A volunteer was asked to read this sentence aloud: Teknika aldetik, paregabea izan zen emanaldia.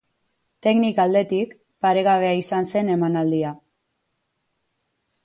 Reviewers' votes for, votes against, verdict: 4, 0, accepted